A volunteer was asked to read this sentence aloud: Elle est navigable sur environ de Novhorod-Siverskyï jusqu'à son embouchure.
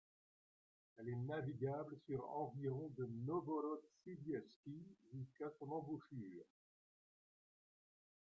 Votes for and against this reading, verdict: 2, 1, accepted